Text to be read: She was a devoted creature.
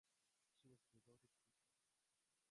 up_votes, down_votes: 1, 4